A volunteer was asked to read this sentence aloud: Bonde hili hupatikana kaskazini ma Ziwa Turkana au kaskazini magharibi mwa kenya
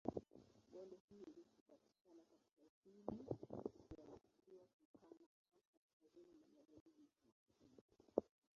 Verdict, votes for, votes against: rejected, 0, 2